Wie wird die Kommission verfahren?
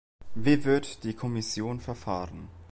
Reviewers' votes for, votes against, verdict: 2, 0, accepted